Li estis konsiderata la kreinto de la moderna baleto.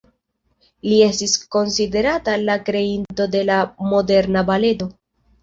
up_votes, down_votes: 1, 2